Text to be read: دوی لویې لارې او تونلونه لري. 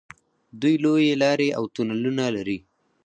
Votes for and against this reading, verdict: 2, 4, rejected